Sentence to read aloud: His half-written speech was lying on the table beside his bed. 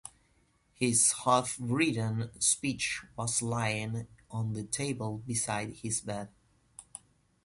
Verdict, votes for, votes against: rejected, 1, 2